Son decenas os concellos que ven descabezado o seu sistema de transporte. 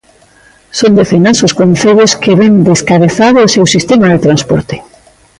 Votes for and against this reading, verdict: 1, 2, rejected